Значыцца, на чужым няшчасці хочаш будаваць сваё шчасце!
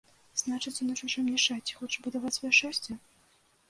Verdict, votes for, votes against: rejected, 1, 2